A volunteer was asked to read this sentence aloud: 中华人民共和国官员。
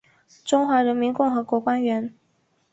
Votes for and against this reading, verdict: 2, 0, accepted